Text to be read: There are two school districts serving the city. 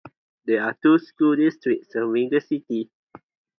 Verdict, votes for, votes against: accepted, 4, 0